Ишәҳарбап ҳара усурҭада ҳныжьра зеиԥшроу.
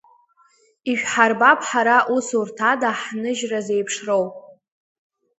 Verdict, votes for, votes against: accepted, 2, 0